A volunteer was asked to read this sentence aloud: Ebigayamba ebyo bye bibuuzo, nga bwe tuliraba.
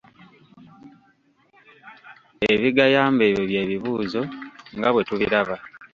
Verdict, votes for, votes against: rejected, 1, 2